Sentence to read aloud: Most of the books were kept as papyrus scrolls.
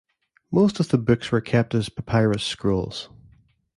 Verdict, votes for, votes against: accepted, 2, 0